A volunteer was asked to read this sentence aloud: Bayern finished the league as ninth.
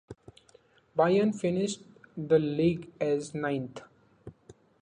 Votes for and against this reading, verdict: 2, 0, accepted